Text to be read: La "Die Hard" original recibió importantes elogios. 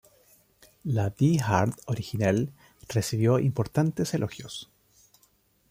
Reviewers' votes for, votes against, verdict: 2, 3, rejected